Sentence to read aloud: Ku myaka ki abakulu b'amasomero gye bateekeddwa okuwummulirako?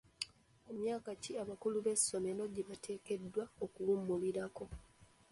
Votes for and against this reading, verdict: 0, 2, rejected